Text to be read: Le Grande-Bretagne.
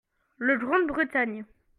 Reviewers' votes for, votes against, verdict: 2, 0, accepted